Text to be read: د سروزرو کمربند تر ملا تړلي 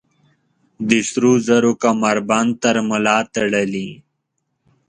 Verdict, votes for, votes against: accepted, 2, 0